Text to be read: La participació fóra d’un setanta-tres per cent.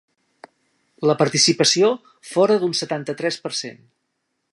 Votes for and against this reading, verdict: 2, 0, accepted